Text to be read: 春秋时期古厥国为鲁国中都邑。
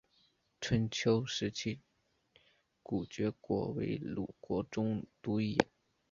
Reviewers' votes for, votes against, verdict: 2, 0, accepted